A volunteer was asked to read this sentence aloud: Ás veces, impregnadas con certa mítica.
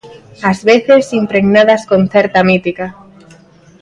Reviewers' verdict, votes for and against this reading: accepted, 2, 0